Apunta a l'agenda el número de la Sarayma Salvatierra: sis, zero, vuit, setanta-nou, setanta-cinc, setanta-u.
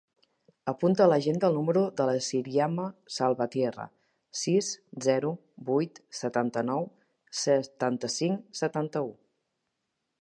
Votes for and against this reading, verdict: 0, 2, rejected